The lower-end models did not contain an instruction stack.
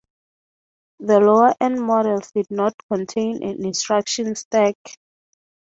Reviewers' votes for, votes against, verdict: 0, 3, rejected